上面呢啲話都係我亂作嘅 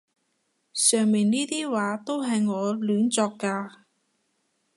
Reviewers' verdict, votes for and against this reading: rejected, 0, 2